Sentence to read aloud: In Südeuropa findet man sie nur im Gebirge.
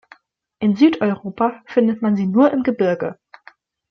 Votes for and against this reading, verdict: 2, 0, accepted